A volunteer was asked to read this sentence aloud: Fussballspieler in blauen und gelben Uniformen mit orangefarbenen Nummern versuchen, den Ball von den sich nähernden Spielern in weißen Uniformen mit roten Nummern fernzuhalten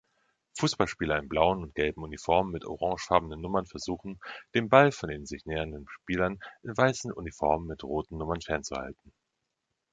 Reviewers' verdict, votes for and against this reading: accepted, 2, 0